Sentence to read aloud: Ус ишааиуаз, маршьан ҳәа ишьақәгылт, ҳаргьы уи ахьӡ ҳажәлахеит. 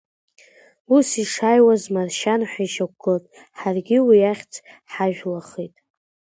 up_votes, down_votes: 2, 0